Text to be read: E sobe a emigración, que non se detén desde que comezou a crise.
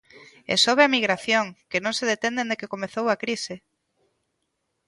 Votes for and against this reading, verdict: 1, 2, rejected